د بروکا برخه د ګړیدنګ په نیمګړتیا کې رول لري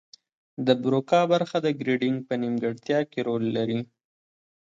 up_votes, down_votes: 2, 1